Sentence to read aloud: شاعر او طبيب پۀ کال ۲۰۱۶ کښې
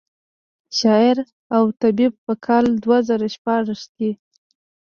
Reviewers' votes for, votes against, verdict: 0, 2, rejected